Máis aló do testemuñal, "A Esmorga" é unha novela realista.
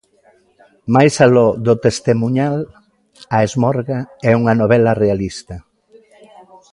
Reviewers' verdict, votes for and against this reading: rejected, 0, 2